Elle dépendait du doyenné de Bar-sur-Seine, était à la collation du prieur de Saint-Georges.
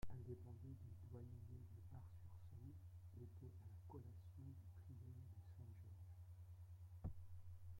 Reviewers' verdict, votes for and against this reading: rejected, 0, 2